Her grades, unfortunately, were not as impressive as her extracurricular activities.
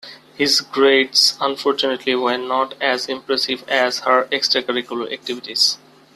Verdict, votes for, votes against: rejected, 1, 2